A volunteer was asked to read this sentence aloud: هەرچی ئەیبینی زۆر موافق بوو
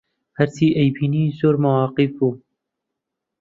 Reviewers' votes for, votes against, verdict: 0, 2, rejected